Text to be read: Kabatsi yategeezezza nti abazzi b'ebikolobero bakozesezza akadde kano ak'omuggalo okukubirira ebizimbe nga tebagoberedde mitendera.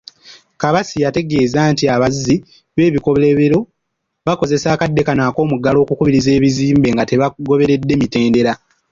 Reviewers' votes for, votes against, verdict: 0, 2, rejected